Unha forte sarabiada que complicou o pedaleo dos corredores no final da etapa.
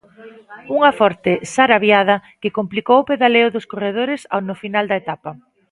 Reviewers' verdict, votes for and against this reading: rejected, 1, 2